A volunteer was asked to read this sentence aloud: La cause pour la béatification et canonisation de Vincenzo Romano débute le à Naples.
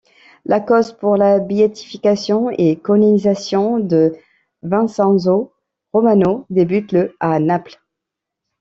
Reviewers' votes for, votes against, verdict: 0, 2, rejected